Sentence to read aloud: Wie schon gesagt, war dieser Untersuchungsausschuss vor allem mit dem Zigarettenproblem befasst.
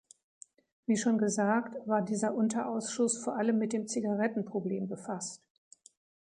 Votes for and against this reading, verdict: 1, 2, rejected